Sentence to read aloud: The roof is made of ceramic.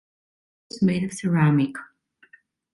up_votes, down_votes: 1, 2